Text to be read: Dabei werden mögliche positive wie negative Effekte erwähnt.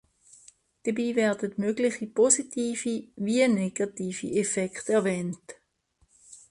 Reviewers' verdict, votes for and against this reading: accepted, 3, 1